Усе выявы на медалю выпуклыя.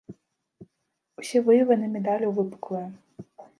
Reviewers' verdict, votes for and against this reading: rejected, 1, 2